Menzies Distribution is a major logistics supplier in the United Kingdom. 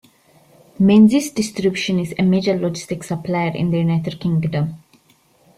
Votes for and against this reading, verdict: 0, 2, rejected